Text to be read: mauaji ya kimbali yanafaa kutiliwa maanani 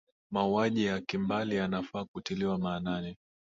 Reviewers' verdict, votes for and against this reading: accepted, 6, 0